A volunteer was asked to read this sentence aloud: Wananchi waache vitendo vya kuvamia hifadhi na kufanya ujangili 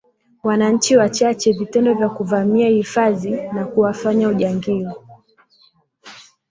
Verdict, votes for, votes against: rejected, 0, 2